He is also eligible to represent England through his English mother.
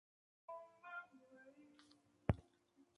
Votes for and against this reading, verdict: 0, 2, rejected